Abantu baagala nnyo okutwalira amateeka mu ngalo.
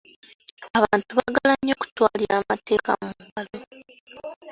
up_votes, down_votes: 3, 2